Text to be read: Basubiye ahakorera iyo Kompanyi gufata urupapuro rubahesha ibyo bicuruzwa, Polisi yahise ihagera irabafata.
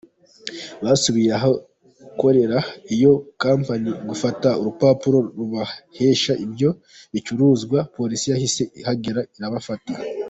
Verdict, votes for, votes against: accepted, 2, 0